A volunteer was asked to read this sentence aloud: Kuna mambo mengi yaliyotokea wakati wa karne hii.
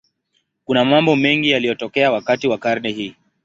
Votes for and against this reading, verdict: 2, 0, accepted